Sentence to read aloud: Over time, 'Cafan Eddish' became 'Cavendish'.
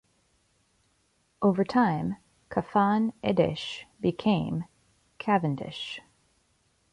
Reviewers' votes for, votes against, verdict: 1, 2, rejected